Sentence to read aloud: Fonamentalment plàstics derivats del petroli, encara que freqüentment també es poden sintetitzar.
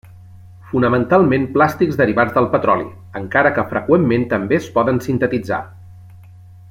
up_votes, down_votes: 3, 0